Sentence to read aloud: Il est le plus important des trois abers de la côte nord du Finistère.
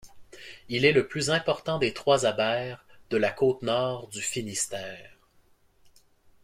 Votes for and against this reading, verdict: 2, 0, accepted